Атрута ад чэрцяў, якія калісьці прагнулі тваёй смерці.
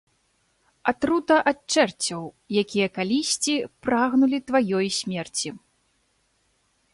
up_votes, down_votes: 2, 0